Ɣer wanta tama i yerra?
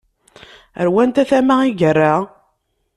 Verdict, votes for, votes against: accepted, 2, 0